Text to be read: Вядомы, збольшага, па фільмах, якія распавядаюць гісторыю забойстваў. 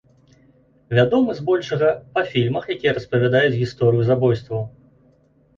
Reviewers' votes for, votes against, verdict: 2, 0, accepted